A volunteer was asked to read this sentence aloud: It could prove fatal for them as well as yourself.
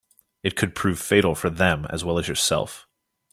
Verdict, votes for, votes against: accepted, 3, 0